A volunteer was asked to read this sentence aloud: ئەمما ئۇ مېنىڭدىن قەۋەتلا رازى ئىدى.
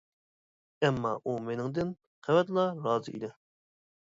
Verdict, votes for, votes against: accepted, 2, 0